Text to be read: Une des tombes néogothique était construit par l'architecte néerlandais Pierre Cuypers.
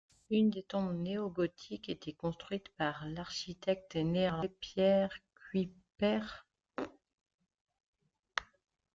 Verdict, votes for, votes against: rejected, 0, 2